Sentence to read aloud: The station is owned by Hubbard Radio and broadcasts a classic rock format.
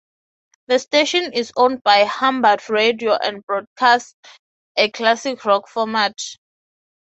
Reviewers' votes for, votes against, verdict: 3, 0, accepted